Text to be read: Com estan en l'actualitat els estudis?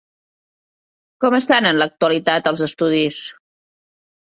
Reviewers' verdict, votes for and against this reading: accepted, 3, 0